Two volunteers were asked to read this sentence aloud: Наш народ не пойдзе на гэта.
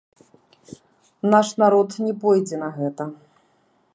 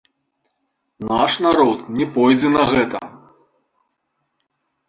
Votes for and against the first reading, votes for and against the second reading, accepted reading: 0, 2, 2, 1, second